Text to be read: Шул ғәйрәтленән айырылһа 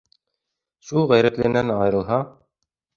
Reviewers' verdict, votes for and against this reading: accepted, 3, 0